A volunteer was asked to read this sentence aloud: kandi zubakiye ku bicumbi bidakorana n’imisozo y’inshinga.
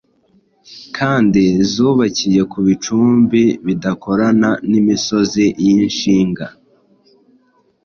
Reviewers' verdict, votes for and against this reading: rejected, 1, 2